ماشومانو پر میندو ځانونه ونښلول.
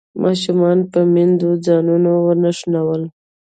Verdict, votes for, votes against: accepted, 2, 0